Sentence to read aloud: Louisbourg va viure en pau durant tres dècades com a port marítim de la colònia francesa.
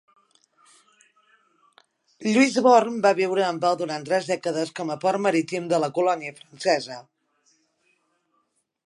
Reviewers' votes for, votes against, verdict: 3, 2, accepted